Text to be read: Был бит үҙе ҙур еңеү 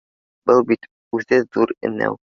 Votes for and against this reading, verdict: 1, 2, rejected